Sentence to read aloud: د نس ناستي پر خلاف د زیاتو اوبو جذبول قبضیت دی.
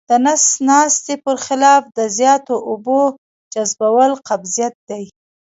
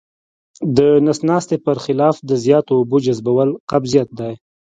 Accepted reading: second